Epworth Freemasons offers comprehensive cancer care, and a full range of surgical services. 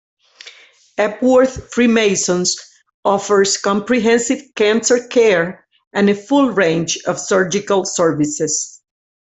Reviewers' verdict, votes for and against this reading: accepted, 2, 0